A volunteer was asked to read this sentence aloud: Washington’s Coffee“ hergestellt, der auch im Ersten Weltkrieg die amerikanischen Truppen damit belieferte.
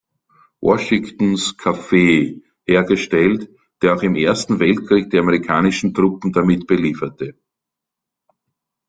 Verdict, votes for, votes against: rejected, 0, 2